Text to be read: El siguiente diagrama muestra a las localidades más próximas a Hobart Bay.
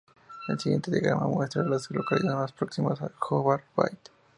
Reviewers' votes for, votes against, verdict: 2, 2, rejected